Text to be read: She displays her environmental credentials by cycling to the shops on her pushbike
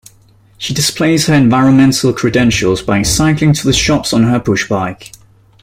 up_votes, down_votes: 2, 0